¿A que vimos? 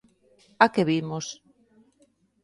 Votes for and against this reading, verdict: 2, 0, accepted